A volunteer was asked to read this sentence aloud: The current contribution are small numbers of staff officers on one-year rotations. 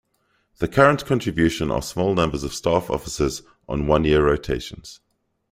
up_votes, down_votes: 2, 0